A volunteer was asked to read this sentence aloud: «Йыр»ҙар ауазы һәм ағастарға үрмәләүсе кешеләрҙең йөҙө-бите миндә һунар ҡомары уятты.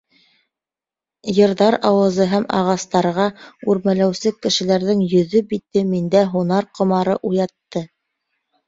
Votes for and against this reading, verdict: 2, 0, accepted